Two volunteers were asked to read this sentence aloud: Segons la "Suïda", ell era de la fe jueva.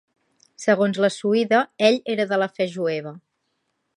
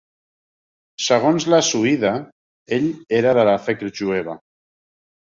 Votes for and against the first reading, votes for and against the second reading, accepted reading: 3, 0, 0, 2, first